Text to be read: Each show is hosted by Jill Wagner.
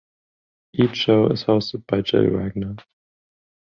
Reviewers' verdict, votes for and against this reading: rejected, 5, 10